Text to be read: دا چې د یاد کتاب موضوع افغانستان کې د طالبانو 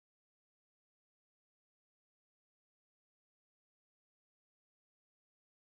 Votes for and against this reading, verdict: 0, 2, rejected